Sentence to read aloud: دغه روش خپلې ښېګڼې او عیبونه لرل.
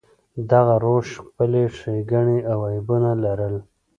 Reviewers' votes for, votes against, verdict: 2, 0, accepted